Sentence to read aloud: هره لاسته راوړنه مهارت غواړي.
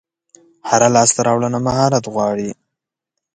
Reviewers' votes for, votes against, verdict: 3, 0, accepted